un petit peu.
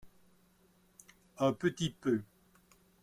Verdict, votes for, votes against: accepted, 2, 0